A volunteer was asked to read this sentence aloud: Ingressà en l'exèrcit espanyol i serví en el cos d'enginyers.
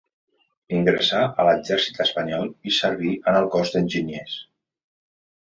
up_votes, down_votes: 2, 1